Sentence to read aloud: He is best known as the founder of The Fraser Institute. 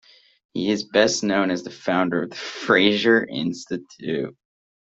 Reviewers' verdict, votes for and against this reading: accepted, 2, 1